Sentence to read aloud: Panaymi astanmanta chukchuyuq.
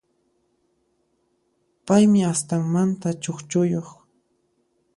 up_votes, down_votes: 1, 2